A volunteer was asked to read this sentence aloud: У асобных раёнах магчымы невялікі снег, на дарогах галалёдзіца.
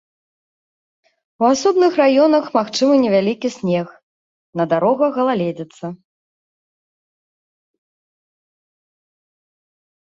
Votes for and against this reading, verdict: 1, 2, rejected